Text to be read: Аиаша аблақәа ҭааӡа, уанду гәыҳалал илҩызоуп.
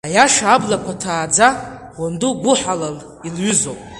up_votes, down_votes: 2, 0